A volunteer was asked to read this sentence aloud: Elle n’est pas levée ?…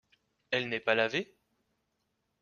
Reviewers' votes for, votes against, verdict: 0, 2, rejected